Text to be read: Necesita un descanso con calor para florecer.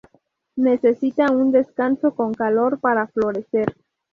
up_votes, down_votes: 4, 0